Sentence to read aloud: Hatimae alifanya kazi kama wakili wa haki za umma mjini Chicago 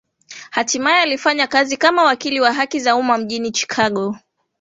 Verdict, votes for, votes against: accepted, 2, 0